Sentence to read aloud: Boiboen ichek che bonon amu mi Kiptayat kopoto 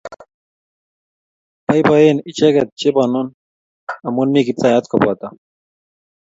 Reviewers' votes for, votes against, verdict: 2, 0, accepted